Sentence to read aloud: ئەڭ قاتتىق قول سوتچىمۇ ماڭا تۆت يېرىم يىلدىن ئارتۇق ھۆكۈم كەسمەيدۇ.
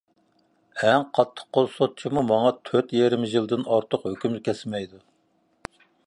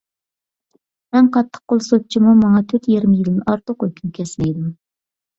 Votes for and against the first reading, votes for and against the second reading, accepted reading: 2, 0, 1, 2, first